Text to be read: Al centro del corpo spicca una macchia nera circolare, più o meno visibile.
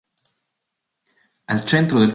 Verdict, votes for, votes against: rejected, 0, 2